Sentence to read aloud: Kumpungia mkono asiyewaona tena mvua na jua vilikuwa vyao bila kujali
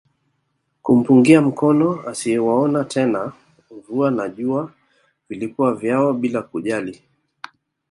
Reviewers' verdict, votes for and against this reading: accepted, 2, 0